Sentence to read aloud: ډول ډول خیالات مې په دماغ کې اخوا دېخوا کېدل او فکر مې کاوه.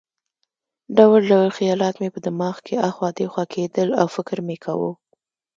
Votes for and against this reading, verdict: 2, 0, accepted